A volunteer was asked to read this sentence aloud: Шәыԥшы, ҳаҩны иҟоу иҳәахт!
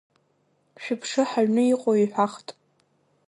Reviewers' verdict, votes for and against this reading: accepted, 2, 0